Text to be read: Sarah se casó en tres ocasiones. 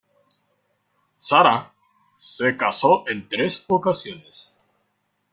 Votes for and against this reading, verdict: 2, 0, accepted